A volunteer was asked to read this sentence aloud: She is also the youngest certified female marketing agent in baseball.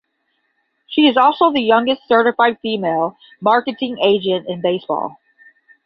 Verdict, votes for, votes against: accepted, 10, 0